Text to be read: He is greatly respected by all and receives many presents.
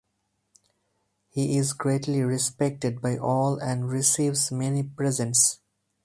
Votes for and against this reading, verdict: 4, 0, accepted